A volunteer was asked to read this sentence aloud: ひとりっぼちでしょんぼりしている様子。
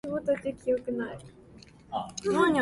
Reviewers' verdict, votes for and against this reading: rejected, 0, 2